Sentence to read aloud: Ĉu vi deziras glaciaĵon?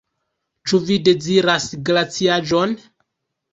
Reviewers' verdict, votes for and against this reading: rejected, 1, 2